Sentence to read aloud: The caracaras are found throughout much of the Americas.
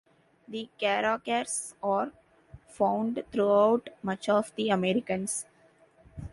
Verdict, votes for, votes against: rejected, 0, 2